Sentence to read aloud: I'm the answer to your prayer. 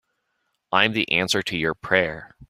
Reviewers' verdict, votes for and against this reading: accepted, 2, 0